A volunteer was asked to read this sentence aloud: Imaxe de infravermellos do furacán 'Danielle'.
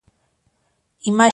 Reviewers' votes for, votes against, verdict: 0, 2, rejected